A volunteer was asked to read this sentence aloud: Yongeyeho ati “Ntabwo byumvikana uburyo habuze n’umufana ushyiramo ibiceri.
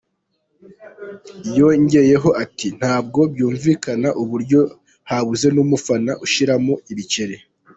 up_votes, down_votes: 2, 0